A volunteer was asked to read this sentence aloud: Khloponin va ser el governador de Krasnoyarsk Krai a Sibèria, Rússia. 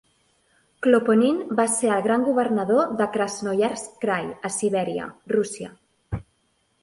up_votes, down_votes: 0, 2